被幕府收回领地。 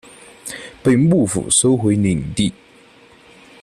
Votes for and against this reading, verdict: 2, 0, accepted